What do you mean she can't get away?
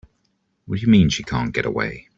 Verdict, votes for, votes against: accepted, 2, 0